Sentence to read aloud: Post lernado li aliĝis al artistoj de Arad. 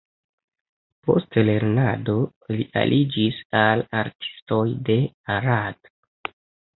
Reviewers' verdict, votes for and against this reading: accepted, 2, 1